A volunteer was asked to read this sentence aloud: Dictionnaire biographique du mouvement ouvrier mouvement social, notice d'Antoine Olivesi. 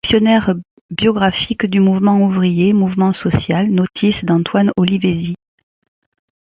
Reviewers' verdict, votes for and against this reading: rejected, 1, 2